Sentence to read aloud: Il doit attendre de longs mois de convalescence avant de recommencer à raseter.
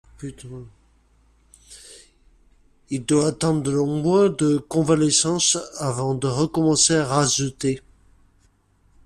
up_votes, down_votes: 1, 2